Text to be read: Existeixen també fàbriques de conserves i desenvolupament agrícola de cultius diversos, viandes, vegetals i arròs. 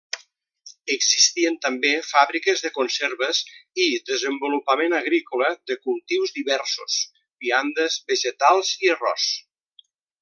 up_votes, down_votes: 0, 2